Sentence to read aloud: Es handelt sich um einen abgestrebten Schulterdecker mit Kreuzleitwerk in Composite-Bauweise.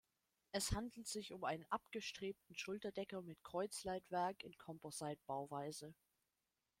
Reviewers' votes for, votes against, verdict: 1, 2, rejected